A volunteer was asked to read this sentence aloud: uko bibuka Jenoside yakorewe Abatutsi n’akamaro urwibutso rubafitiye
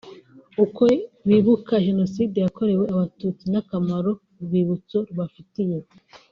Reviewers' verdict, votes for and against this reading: rejected, 1, 2